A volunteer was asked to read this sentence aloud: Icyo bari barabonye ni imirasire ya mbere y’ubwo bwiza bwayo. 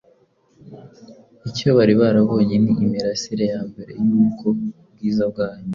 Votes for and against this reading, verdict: 2, 0, accepted